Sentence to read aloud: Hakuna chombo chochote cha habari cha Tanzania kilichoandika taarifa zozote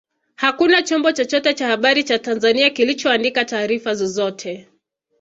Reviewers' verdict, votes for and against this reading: accepted, 2, 0